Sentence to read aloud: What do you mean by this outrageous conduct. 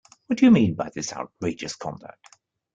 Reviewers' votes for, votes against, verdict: 2, 0, accepted